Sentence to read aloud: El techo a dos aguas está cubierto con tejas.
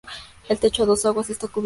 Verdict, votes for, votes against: rejected, 0, 2